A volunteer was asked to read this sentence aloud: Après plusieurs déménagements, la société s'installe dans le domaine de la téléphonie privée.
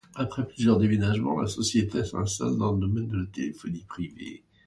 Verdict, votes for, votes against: accepted, 2, 0